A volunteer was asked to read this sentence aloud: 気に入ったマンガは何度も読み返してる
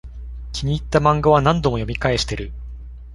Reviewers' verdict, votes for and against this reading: accepted, 2, 0